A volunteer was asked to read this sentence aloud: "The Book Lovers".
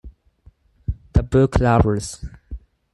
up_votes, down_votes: 2, 4